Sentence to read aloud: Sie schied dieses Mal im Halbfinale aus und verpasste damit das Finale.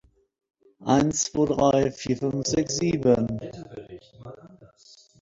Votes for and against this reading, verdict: 0, 2, rejected